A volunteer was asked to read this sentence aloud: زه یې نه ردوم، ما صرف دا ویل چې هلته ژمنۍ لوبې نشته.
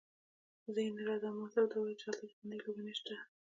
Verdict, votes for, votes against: rejected, 1, 2